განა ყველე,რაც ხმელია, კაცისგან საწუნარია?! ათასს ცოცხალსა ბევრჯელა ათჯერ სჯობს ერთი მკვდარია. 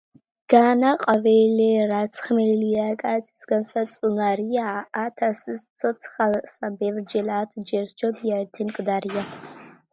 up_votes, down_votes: 1, 2